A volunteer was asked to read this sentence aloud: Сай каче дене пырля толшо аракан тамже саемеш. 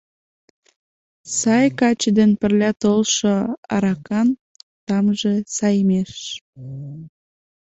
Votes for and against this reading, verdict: 2, 0, accepted